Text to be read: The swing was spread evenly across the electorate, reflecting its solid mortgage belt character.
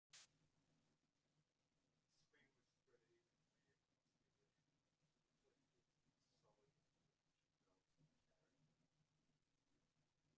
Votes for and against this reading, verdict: 0, 2, rejected